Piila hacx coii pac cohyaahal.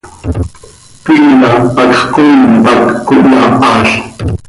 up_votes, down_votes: 2, 0